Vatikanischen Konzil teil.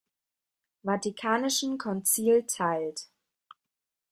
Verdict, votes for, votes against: rejected, 1, 2